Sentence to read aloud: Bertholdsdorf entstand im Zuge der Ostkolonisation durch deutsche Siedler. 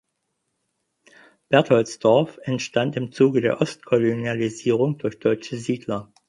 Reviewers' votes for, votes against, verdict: 2, 4, rejected